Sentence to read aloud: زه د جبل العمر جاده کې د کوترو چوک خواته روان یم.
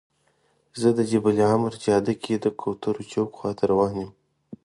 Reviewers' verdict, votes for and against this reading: accepted, 2, 0